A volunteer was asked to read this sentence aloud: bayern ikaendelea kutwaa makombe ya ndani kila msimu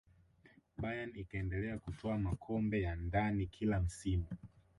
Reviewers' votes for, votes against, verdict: 8, 0, accepted